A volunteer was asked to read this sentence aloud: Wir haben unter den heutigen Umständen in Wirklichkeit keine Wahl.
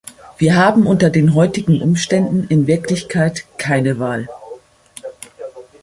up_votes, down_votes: 2, 0